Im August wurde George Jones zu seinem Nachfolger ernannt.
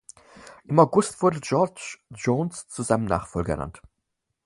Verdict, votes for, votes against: accepted, 4, 0